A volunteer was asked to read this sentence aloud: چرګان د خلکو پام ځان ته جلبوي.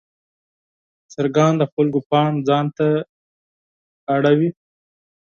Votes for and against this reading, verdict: 6, 2, accepted